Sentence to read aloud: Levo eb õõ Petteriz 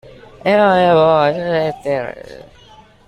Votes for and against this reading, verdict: 0, 2, rejected